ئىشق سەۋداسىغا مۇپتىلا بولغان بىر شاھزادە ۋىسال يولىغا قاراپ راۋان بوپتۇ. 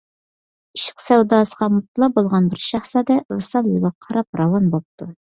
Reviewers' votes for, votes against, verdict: 2, 0, accepted